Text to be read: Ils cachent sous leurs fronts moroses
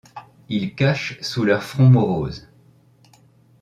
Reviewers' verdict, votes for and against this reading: accepted, 2, 0